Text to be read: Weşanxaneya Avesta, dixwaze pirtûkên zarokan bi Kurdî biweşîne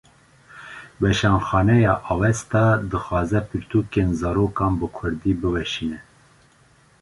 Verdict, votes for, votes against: accepted, 2, 0